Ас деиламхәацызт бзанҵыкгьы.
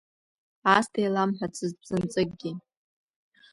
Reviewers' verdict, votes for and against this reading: rejected, 0, 2